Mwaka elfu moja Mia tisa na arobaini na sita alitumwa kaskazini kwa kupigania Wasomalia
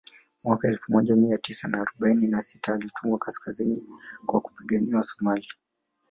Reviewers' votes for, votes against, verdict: 0, 3, rejected